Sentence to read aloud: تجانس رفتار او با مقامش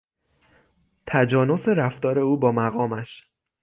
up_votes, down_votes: 6, 0